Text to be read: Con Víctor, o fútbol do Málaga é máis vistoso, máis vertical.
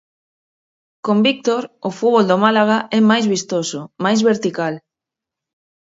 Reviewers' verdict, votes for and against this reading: accepted, 4, 0